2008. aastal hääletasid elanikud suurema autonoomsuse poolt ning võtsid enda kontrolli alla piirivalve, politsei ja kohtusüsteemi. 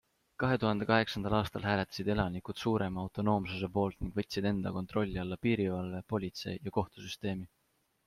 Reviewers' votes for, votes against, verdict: 0, 2, rejected